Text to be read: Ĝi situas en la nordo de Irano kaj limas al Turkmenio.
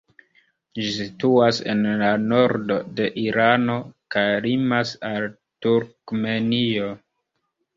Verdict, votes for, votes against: rejected, 0, 2